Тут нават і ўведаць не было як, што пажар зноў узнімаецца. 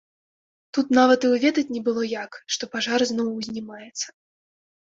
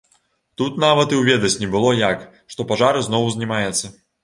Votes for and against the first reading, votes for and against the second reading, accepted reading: 1, 2, 2, 0, second